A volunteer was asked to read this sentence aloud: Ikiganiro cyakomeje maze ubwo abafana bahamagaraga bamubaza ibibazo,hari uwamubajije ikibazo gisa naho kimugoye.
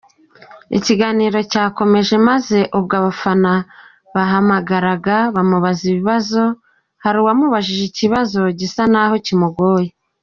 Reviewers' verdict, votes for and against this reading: accepted, 2, 0